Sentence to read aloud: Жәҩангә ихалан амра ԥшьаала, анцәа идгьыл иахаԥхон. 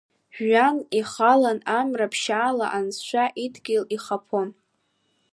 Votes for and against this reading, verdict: 1, 2, rejected